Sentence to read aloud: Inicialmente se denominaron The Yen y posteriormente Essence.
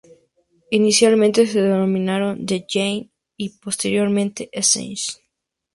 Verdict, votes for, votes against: accepted, 2, 0